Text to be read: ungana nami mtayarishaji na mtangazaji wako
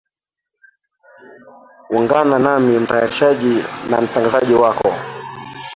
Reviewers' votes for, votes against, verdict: 2, 1, accepted